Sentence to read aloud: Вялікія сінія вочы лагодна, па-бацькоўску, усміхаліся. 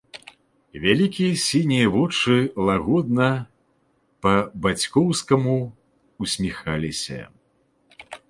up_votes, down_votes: 0, 2